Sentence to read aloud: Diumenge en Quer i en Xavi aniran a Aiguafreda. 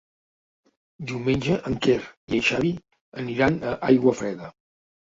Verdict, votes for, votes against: accepted, 3, 1